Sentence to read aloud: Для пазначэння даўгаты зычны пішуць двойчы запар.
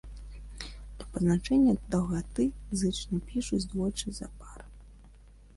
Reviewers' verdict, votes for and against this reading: rejected, 0, 2